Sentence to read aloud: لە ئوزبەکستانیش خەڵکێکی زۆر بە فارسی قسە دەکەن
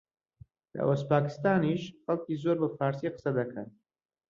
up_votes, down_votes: 0, 2